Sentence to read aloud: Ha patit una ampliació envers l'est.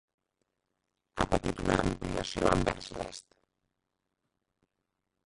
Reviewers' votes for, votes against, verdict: 1, 2, rejected